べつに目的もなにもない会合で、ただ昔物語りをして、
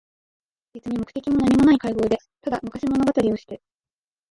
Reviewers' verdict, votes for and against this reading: accepted, 7, 2